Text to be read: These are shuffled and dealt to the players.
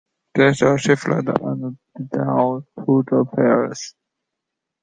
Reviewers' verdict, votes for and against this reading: rejected, 1, 2